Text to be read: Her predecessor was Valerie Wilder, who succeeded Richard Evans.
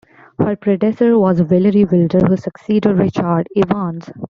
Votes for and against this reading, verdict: 0, 2, rejected